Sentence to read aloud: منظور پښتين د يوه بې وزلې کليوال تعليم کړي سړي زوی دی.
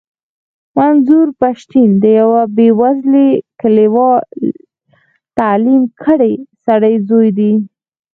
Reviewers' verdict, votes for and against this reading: rejected, 0, 4